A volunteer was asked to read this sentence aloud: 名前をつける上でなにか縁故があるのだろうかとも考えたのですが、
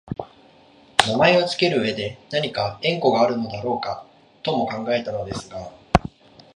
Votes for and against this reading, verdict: 2, 1, accepted